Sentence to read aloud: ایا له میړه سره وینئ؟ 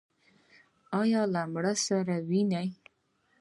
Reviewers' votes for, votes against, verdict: 2, 0, accepted